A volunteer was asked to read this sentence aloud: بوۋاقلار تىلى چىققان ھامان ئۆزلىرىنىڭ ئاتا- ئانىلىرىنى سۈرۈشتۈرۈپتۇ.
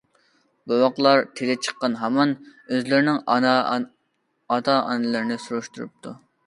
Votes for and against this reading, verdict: 0, 2, rejected